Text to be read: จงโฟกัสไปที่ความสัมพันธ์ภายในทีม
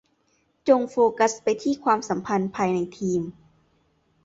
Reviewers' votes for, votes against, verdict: 2, 0, accepted